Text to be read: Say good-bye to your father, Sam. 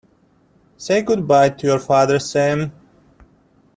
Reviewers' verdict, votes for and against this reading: accepted, 2, 0